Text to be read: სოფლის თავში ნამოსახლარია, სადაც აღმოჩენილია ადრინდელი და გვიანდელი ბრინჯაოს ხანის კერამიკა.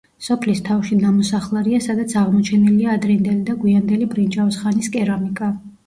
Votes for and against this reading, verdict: 1, 2, rejected